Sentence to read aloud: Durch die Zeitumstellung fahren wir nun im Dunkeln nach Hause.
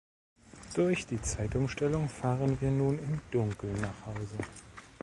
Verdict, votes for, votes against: accepted, 2, 0